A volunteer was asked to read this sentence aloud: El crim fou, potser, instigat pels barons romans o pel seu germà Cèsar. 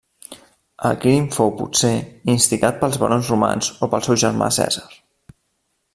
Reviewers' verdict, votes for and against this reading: accepted, 2, 0